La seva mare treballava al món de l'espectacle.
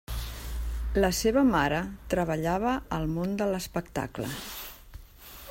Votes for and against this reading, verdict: 3, 0, accepted